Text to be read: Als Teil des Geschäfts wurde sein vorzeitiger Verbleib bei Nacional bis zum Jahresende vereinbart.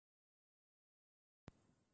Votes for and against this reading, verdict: 0, 2, rejected